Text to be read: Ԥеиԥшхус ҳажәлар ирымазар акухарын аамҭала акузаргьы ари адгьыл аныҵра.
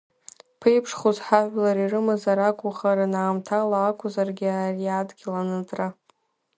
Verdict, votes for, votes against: accepted, 2, 1